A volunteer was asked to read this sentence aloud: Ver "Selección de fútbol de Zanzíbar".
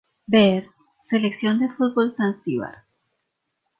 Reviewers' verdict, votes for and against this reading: rejected, 0, 2